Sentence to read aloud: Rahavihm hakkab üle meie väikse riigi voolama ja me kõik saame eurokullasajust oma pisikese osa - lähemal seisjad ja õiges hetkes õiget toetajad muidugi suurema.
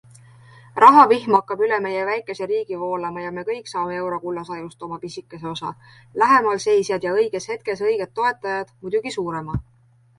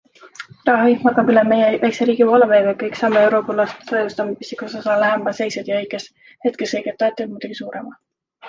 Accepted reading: first